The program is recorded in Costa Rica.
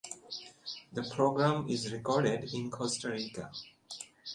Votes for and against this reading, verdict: 2, 1, accepted